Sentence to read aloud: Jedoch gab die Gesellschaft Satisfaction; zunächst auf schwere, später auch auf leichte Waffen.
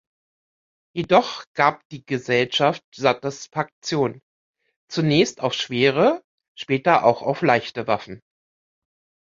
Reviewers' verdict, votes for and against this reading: rejected, 1, 2